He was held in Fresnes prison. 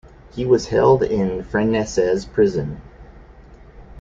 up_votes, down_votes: 0, 2